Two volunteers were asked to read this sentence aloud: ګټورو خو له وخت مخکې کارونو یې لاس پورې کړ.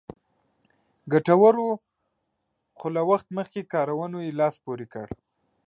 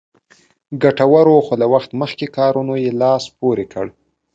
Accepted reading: second